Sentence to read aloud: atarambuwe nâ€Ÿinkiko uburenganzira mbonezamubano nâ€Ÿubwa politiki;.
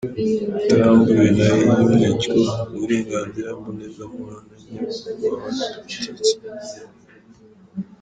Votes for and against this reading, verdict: 1, 2, rejected